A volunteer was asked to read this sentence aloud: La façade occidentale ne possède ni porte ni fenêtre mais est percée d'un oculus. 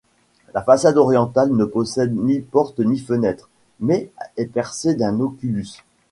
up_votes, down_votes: 1, 2